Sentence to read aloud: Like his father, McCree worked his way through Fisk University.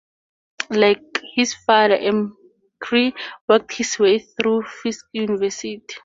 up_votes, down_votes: 2, 2